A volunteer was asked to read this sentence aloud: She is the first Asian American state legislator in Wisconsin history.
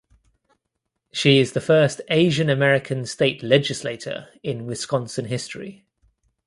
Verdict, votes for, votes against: rejected, 1, 2